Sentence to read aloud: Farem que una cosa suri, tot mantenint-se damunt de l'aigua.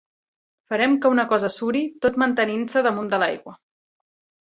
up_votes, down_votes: 2, 0